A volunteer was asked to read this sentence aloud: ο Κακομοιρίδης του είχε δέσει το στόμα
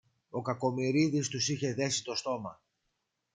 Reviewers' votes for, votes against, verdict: 1, 2, rejected